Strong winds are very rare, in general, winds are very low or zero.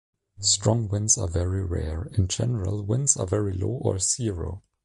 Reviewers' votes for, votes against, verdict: 2, 1, accepted